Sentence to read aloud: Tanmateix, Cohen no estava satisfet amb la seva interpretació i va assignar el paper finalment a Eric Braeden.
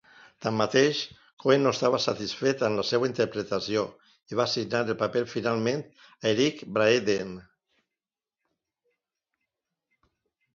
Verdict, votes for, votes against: accepted, 2, 0